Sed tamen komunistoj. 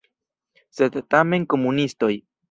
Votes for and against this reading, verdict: 2, 0, accepted